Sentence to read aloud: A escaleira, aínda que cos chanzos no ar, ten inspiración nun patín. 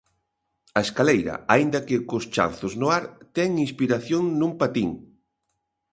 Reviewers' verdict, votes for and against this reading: accepted, 2, 0